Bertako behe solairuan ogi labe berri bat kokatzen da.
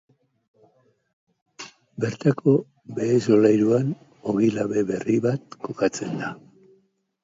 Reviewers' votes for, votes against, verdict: 4, 0, accepted